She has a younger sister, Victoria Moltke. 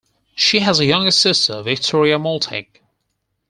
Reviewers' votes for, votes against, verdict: 0, 4, rejected